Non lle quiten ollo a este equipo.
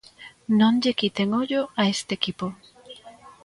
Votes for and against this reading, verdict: 2, 0, accepted